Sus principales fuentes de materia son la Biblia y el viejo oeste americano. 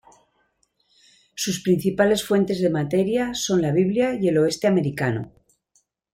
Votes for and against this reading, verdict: 1, 2, rejected